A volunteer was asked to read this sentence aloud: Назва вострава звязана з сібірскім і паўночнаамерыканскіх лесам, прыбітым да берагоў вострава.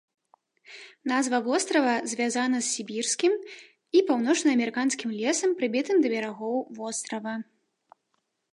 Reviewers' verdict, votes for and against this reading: rejected, 1, 2